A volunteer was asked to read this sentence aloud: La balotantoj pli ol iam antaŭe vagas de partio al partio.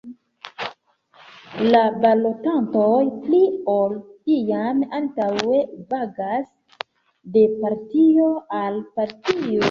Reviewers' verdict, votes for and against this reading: accepted, 2, 0